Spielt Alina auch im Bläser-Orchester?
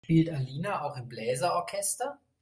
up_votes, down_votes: 1, 2